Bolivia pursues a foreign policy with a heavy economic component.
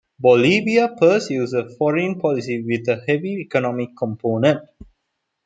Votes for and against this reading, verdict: 2, 0, accepted